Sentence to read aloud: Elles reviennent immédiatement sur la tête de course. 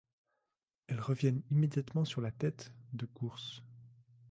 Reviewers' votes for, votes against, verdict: 3, 0, accepted